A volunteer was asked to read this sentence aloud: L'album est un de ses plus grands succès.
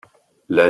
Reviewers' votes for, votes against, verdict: 1, 2, rejected